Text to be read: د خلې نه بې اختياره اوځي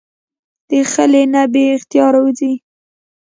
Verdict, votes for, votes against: rejected, 1, 2